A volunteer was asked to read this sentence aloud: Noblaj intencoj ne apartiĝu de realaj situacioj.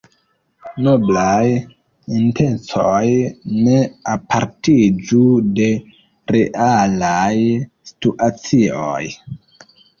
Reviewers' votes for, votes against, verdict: 2, 0, accepted